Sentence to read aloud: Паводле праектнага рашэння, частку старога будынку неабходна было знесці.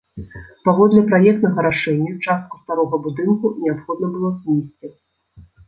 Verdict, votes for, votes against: rejected, 1, 2